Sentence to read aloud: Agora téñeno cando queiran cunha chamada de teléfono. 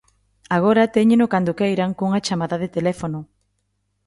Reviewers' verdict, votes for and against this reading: accepted, 2, 0